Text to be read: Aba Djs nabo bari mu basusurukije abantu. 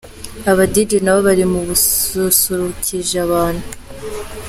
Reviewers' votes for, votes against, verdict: 0, 2, rejected